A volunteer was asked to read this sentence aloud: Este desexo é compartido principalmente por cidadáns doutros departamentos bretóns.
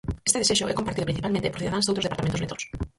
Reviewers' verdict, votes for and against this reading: rejected, 0, 4